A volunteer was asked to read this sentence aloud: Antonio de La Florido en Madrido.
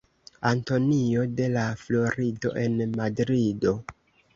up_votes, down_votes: 2, 0